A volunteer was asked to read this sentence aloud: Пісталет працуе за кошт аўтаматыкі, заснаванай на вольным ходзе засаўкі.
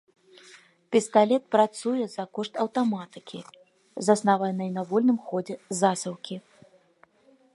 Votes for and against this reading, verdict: 2, 1, accepted